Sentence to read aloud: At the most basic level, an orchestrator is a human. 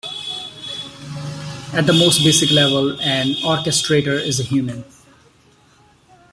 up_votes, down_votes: 2, 0